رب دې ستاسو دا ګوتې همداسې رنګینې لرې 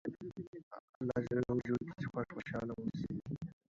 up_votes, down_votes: 0, 2